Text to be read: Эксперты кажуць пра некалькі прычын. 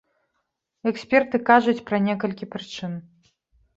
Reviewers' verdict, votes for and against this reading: accepted, 2, 0